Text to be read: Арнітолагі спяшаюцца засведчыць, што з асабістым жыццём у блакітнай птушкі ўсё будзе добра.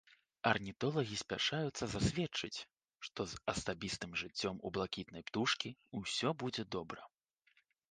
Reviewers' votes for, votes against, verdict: 2, 0, accepted